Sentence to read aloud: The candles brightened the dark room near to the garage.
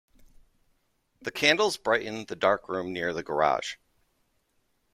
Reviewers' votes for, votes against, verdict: 2, 0, accepted